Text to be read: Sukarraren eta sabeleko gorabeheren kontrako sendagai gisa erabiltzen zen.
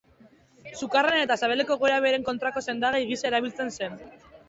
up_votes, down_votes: 2, 0